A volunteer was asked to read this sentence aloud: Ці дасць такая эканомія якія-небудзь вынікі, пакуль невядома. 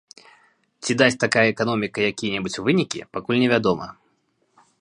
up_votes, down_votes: 1, 2